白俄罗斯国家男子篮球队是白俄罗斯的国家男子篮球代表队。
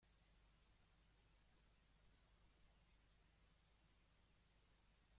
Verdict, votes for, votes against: rejected, 0, 2